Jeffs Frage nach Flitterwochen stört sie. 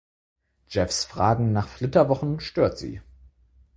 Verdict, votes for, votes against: rejected, 2, 4